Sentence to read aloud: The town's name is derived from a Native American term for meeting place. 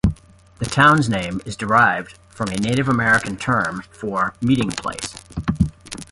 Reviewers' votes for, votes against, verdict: 2, 0, accepted